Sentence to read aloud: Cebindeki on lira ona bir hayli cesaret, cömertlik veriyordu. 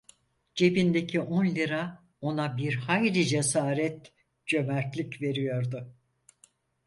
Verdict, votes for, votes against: accepted, 4, 0